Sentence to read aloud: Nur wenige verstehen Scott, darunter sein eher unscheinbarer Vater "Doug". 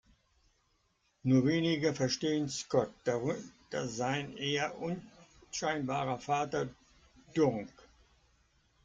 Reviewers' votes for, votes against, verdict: 0, 3, rejected